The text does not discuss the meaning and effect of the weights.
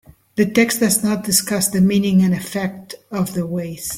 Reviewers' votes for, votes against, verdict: 2, 1, accepted